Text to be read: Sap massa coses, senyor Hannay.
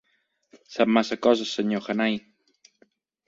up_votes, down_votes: 4, 1